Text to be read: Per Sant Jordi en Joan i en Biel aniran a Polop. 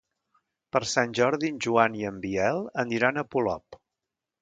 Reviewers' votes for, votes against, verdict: 2, 0, accepted